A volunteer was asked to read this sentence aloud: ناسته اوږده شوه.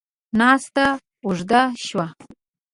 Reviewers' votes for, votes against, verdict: 2, 0, accepted